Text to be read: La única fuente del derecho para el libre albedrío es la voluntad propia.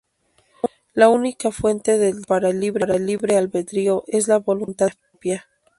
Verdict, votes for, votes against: rejected, 0, 2